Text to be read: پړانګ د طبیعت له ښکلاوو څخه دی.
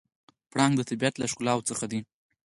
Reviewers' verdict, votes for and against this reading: accepted, 4, 0